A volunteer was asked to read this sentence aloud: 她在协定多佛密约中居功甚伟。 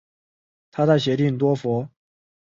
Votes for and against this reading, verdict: 0, 2, rejected